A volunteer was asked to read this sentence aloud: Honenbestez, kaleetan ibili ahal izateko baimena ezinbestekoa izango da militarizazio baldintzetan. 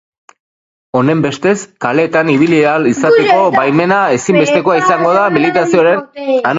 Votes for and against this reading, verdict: 0, 4, rejected